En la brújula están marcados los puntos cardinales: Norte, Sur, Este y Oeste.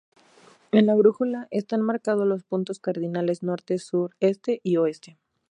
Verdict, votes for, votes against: accepted, 2, 0